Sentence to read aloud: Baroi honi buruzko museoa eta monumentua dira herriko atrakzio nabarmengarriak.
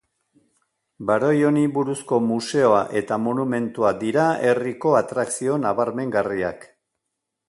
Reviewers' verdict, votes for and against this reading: accepted, 2, 0